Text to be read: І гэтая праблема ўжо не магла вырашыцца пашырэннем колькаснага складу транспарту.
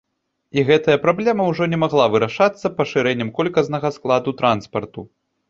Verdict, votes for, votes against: rejected, 1, 2